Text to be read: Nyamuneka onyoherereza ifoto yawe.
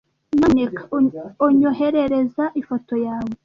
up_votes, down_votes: 1, 2